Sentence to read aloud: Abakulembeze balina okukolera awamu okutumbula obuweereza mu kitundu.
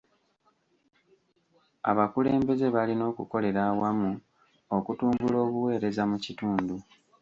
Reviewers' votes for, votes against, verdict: 0, 2, rejected